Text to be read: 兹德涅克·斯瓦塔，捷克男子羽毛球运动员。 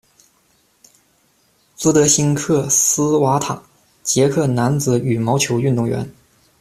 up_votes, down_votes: 1, 2